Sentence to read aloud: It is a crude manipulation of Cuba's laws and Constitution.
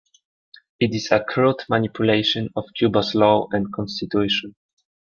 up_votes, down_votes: 2, 0